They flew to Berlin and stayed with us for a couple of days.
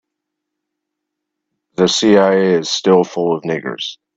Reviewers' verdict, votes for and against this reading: rejected, 0, 2